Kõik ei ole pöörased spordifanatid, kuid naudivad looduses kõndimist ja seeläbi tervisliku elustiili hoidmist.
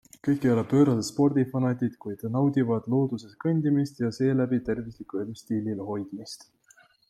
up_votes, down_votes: 2, 0